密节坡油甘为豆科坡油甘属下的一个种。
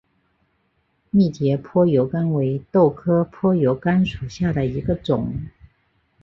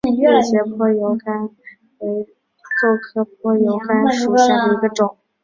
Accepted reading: first